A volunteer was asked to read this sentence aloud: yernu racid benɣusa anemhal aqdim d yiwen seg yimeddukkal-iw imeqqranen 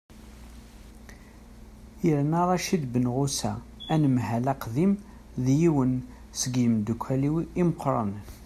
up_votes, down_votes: 2, 0